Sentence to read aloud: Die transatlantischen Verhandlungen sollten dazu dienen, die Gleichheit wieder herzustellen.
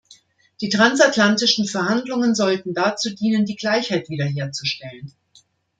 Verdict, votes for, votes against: accepted, 2, 0